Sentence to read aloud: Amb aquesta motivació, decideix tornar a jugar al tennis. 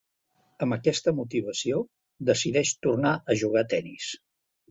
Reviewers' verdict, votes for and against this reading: rejected, 0, 2